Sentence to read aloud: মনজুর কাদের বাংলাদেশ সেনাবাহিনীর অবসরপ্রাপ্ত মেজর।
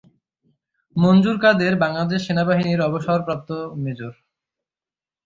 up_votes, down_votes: 3, 0